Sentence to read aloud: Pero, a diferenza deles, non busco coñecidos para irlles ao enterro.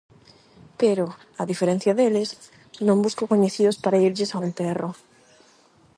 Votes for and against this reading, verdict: 0, 8, rejected